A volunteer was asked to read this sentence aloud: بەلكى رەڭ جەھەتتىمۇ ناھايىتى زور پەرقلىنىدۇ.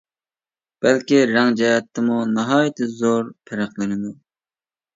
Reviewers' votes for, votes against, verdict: 2, 0, accepted